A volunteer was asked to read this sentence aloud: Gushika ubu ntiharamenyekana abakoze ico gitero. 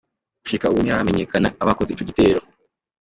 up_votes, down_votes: 2, 0